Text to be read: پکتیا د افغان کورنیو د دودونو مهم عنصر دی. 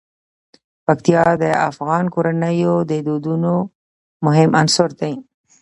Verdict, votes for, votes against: accepted, 2, 0